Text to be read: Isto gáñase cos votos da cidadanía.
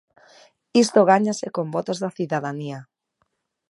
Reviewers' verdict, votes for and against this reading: rejected, 0, 2